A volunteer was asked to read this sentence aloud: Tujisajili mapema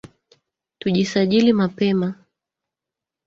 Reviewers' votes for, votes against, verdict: 1, 2, rejected